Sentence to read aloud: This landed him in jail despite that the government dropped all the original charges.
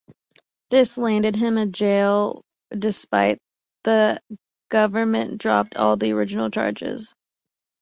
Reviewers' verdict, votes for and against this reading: rejected, 1, 2